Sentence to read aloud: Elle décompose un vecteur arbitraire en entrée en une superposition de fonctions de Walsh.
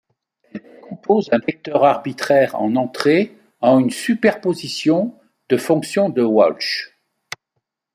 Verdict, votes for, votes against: accepted, 2, 0